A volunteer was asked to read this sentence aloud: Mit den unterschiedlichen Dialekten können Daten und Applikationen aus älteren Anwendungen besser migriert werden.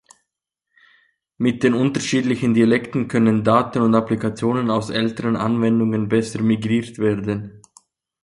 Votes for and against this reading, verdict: 3, 1, accepted